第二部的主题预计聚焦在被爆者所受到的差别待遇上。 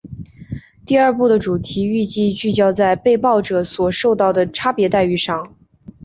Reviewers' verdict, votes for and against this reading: accepted, 4, 0